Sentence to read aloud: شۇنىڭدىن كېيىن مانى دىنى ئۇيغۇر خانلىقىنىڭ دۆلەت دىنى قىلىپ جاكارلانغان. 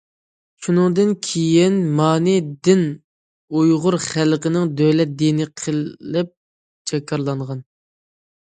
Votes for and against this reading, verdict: 0, 2, rejected